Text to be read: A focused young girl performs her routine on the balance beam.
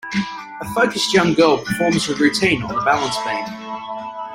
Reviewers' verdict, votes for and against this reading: rejected, 1, 2